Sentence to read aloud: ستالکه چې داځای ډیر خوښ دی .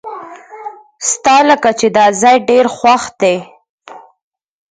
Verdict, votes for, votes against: rejected, 0, 4